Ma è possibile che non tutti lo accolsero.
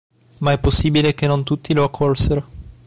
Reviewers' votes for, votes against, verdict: 2, 0, accepted